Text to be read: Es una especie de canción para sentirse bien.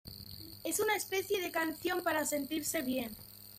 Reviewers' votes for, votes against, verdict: 1, 2, rejected